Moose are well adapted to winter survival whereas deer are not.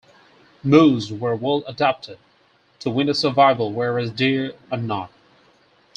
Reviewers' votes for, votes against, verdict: 4, 2, accepted